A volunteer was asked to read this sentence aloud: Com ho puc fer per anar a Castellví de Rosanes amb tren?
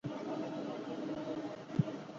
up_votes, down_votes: 1, 2